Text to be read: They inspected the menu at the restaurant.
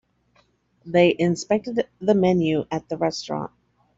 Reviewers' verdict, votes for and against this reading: rejected, 1, 2